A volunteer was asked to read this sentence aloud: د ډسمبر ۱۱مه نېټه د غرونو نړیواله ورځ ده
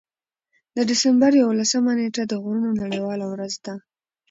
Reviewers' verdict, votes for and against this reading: rejected, 0, 2